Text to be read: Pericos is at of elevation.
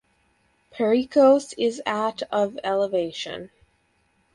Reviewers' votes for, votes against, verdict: 2, 2, rejected